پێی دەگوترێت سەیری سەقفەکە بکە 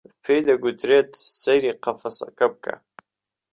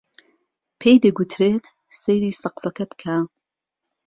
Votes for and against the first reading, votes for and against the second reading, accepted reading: 1, 2, 2, 0, second